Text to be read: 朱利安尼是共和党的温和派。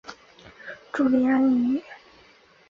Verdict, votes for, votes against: rejected, 0, 3